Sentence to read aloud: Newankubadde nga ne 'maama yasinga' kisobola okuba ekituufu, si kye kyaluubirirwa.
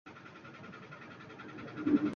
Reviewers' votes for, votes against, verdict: 0, 2, rejected